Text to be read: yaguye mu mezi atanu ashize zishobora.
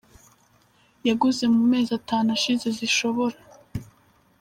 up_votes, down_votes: 1, 2